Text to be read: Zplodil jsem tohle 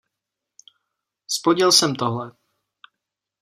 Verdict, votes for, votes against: accepted, 2, 0